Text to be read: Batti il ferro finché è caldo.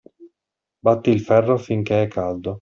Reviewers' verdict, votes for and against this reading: accepted, 2, 0